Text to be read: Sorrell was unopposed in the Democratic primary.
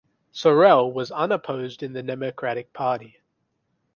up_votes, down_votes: 0, 2